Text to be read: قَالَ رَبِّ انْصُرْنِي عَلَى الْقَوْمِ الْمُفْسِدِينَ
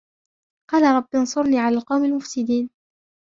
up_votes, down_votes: 1, 2